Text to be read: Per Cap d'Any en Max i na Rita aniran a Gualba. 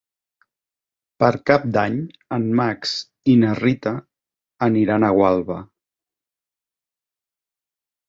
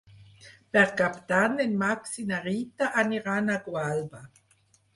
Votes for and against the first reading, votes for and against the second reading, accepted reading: 3, 0, 0, 4, first